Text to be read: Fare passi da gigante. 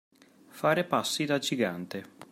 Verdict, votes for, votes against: accepted, 2, 0